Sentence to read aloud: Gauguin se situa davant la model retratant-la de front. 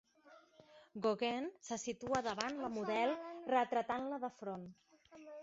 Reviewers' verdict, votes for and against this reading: accepted, 2, 0